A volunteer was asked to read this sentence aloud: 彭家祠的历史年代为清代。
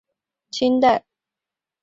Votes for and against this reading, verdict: 0, 2, rejected